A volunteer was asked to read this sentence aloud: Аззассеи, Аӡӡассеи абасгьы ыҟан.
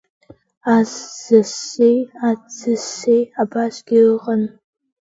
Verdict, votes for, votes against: rejected, 0, 2